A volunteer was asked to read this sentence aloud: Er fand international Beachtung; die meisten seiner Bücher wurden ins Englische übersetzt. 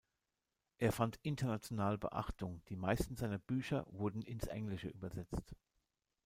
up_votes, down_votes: 2, 0